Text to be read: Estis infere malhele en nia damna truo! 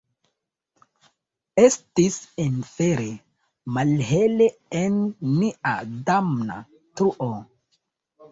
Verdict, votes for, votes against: accepted, 2, 1